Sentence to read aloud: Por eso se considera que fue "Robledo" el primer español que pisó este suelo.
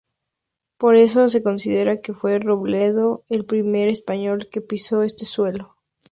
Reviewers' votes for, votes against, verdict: 2, 0, accepted